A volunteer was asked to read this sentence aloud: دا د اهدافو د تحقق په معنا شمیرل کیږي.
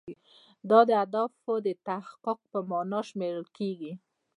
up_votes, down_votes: 2, 1